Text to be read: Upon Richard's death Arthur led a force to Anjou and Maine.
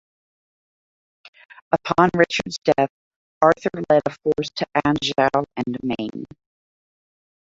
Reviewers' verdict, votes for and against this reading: accepted, 2, 1